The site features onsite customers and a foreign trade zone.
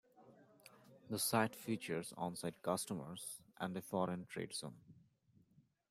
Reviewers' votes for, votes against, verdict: 2, 0, accepted